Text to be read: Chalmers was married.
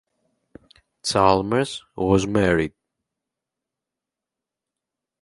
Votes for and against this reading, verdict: 2, 2, rejected